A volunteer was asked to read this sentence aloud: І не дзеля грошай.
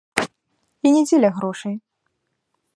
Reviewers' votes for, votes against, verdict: 2, 0, accepted